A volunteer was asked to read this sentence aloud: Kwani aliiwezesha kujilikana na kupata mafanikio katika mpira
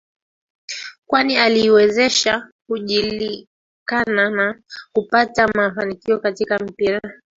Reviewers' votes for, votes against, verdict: 0, 2, rejected